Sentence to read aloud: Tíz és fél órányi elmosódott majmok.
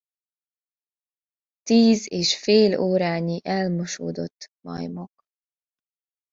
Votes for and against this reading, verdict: 2, 0, accepted